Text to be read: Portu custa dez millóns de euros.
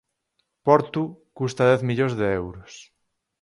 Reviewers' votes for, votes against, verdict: 4, 0, accepted